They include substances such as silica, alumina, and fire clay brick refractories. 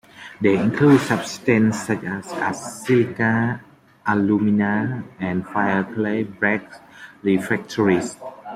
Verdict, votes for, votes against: rejected, 0, 2